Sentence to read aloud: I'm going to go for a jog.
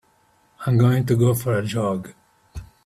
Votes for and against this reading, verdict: 2, 0, accepted